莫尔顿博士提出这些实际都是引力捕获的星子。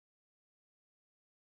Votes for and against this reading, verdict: 0, 6, rejected